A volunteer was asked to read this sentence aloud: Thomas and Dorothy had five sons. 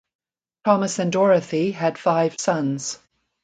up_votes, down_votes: 2, 0